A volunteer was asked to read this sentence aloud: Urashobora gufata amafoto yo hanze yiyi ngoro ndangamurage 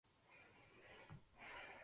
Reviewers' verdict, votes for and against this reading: rejected, 0, 2